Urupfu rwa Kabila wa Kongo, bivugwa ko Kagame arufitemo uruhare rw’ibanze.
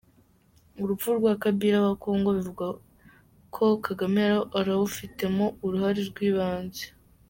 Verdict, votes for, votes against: rejected, 0, 2